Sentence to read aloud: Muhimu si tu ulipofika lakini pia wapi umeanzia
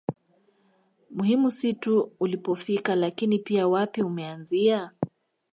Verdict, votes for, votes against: accepted, 2, 1